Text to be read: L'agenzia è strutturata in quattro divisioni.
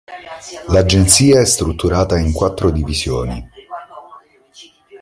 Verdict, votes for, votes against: accepted, 2, 1